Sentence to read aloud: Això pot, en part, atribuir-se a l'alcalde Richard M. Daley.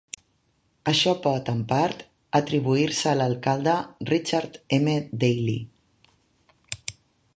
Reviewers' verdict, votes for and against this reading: accepted, 2, 1